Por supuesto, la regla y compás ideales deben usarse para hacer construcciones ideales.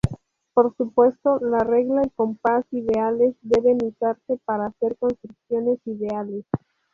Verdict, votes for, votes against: accepted, 4, 0